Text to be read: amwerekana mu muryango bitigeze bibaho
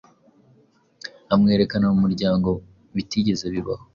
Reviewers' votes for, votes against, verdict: 2, 0, accepted